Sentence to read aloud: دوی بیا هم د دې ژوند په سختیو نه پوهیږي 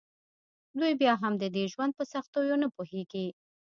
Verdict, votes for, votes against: accepted, 3, 0